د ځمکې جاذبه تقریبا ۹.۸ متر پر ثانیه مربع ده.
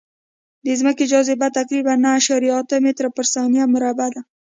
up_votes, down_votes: 0, 2